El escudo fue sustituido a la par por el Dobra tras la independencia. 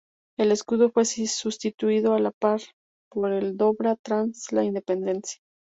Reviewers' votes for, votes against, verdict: 2, 2, rejected